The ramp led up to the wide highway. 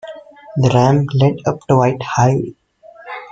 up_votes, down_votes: 0, 2